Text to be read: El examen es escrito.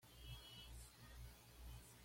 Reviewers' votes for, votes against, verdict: 1, 2, rejected